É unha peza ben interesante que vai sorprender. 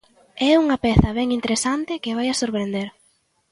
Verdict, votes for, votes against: rejected, 0, 2